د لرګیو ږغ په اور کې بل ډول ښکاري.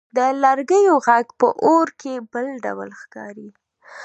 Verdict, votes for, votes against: accepted, 2, 1